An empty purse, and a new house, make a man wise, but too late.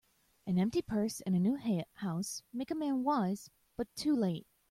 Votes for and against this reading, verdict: 1, 2, rejected